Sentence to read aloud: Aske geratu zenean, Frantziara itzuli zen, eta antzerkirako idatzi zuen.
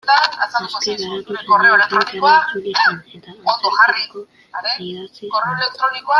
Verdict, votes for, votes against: rejected, 0, 2